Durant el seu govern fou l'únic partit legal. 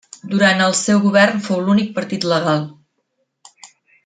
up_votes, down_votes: 3, 0